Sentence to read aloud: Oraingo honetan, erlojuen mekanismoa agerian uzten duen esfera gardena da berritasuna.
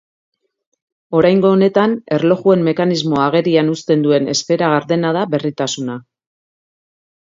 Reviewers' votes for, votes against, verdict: 2, 0, accepted